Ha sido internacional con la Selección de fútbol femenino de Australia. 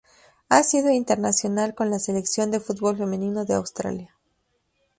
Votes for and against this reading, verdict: 2, 0, accepted